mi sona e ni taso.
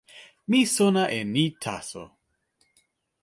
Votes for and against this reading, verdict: 2, 0, accepted